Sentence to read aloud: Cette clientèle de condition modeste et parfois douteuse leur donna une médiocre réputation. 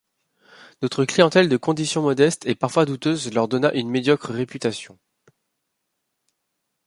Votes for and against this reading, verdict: 1, 2, rejected